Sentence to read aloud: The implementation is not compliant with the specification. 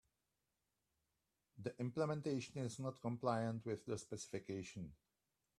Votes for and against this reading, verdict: 2, 0, accepted